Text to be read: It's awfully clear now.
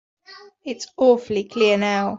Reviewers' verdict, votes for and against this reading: accepted, 2, 0